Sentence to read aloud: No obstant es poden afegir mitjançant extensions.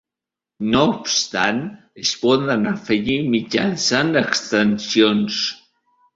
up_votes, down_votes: 3, 0